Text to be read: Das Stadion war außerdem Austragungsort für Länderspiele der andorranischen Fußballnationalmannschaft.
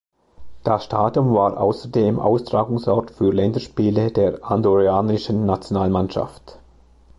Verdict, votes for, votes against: rejected, 0, 2